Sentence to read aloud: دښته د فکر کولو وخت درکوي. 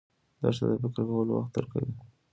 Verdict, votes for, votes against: accepted, 2, 1